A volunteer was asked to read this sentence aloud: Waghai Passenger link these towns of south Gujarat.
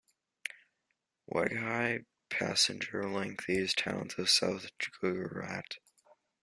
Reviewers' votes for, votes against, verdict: 0, 2, rejected